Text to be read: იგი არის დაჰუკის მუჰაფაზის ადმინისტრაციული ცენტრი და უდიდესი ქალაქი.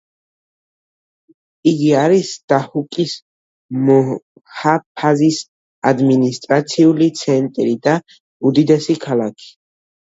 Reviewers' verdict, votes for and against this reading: rejected, 1, 2